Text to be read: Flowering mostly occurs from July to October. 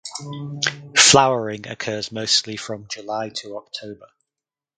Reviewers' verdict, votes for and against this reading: rejected, 0, 2